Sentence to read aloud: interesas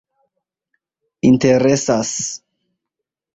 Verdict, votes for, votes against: rejected, 1, 2